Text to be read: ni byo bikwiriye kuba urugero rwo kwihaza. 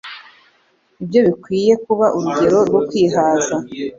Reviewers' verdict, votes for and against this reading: accepted, 2, 0